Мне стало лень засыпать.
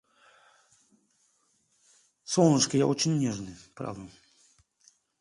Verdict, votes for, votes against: rejected, 0, 2